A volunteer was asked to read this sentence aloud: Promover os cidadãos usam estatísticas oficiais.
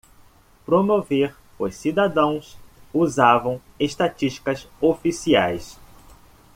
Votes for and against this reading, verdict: 0, 2, rejected